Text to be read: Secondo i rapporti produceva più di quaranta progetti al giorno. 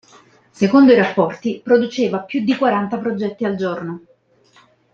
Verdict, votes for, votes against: accepted, 2, 0